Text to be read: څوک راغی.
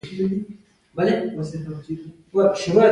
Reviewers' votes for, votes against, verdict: 1, 2, rejected